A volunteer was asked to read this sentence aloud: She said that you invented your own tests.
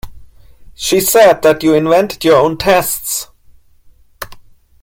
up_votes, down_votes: 3, 0